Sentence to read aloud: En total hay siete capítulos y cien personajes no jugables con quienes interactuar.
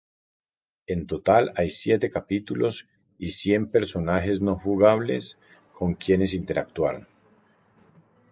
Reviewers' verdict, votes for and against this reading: accepted, 4, 0